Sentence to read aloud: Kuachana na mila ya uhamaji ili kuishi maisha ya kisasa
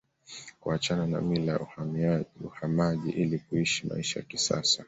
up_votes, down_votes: 2, 1